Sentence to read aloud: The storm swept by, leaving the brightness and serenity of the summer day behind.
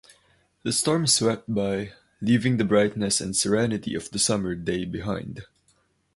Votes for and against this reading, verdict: 2, 0, accepted